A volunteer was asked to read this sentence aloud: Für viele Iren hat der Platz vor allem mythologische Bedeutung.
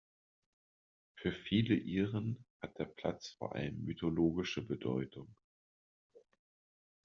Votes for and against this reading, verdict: 2, 0, accepted